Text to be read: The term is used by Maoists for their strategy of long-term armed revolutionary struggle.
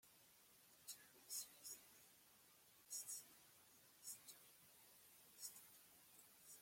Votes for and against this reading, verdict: 0, 2, rejected